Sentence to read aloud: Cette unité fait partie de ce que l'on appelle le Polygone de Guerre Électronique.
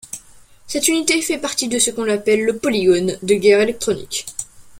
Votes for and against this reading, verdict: 0, 2, rejected